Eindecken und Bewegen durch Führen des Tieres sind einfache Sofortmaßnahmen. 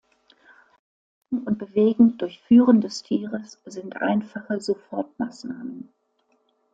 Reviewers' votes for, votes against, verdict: 1, 2, rejected